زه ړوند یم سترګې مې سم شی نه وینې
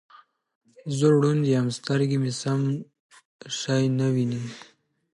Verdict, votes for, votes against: accepted, 2, 0